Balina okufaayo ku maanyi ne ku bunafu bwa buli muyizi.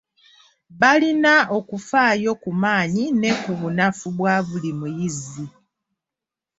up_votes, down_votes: 2, 0